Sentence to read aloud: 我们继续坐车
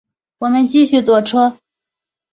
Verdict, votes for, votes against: accepted, 2, 0